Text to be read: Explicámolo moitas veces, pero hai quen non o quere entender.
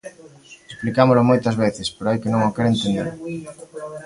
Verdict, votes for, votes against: accepted, 2, 1